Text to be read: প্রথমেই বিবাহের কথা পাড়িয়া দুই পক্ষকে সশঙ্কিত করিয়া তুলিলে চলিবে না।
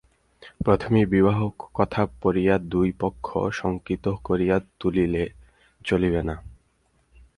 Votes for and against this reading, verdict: 0, 4, rejected